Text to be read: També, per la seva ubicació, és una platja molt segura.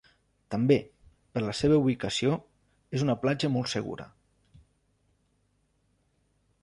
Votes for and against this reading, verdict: 3, 0, accepted